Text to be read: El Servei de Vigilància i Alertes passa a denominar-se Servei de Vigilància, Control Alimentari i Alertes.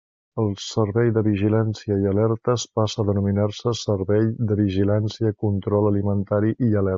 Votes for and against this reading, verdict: 1, 2, rejected